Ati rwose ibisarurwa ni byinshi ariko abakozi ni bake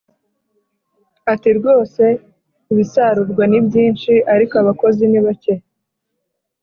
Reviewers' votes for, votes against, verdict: 2, 0, accepted